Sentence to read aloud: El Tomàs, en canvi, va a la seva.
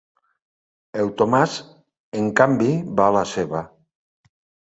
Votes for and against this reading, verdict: 3, 0, accepted